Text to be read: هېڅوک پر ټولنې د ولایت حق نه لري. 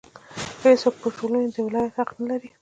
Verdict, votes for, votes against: accepted, 2, 1